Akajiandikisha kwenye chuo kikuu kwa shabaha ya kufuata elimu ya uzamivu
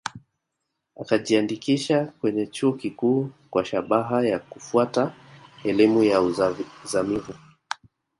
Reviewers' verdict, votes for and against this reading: rejected, 1, 2